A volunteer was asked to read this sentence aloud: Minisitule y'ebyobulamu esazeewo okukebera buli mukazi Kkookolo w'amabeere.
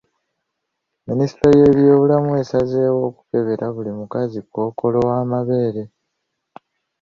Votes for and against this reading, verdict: 2, 0, accepted